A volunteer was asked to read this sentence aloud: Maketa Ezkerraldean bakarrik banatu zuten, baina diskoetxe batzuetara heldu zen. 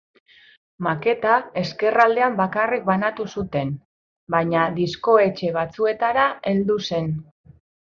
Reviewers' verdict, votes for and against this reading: accepted, 2, 0